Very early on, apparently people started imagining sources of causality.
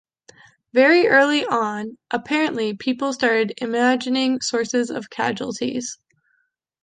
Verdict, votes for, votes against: rejected, 0, 2